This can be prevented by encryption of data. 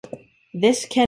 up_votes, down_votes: 0, 2